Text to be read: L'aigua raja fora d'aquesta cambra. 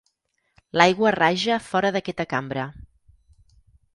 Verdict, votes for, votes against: accepted, 6, 0